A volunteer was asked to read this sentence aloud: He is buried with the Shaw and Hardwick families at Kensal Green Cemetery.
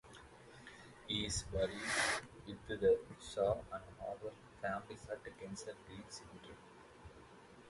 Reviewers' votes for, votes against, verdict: 2, 2, rejected